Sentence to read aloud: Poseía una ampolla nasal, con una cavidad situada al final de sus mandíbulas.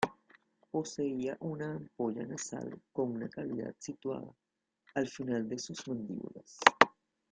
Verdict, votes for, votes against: accepted, 2, 0